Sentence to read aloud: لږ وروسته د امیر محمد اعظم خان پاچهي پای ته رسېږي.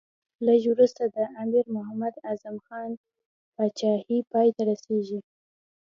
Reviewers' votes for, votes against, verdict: 2, 0, accepted